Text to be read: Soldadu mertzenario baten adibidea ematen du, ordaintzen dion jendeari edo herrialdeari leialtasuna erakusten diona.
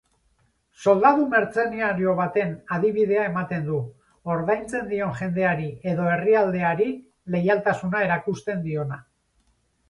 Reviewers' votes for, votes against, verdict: 2, 0, accepted